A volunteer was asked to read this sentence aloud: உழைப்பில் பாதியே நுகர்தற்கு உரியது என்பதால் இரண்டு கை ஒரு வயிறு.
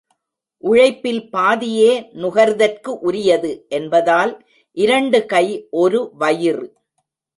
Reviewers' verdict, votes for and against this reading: rejected, 1, 2